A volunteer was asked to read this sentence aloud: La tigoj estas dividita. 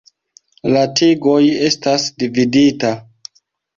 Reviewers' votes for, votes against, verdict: 0, 2, rejected